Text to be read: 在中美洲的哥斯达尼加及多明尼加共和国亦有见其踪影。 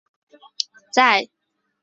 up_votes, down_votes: 0, 3